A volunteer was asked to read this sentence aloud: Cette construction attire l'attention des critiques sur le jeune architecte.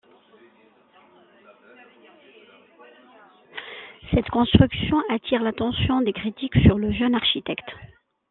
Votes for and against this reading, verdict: 1, 2, rejected